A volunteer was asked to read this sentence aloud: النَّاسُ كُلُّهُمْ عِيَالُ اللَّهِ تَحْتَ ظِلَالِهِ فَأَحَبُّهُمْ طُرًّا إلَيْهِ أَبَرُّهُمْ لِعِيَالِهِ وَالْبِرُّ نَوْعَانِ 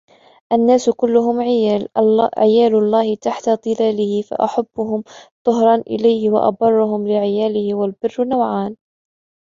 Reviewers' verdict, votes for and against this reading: rejected, 1, 3